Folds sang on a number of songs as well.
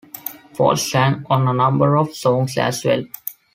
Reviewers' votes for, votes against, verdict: 1, 2, rejected